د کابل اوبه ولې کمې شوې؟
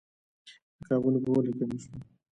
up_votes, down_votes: 1, 2